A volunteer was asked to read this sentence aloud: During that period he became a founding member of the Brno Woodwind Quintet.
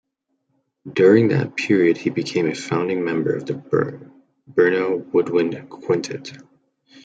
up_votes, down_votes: 0, 2